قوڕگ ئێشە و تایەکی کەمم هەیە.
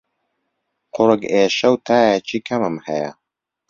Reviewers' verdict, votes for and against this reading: accepted, 2, 0